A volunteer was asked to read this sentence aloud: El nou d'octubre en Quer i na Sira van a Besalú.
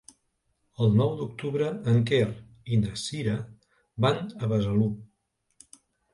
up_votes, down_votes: 2, 0